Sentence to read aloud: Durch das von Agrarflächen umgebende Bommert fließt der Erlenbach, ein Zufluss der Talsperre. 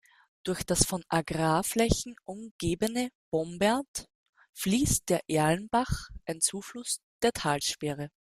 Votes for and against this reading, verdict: 0, 2, rejected